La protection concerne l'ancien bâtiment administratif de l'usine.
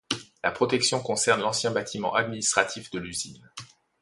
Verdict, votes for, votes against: accepted, 2, 0